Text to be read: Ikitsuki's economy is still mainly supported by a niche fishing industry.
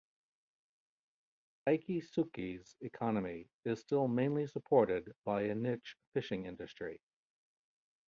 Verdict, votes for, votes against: accepted, 2, 0